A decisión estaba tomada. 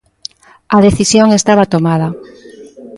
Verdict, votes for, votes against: rejected, 0, 2